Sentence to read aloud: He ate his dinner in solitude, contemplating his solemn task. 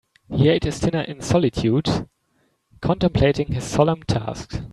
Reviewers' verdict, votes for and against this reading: accepted, 2, 1